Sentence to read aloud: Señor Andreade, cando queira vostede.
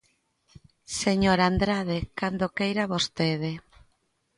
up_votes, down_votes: 0, 3